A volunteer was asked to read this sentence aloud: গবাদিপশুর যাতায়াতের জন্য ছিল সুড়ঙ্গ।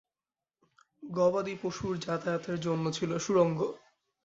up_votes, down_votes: 2, 0